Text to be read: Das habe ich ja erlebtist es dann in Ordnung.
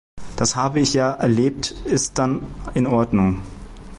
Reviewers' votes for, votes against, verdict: 0, 2, rejected